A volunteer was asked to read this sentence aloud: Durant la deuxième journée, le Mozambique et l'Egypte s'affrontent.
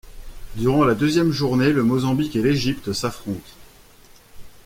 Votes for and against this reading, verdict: 2, 0, accepted